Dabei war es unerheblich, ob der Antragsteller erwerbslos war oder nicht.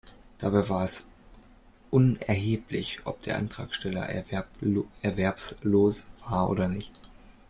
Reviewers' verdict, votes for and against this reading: rejected, 0, 2